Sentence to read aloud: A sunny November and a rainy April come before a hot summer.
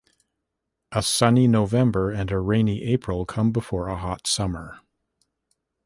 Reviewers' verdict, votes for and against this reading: accepted, 2, 0